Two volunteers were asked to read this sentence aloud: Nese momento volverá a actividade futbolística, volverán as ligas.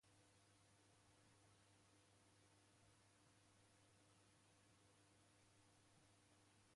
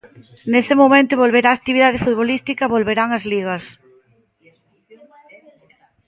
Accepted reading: second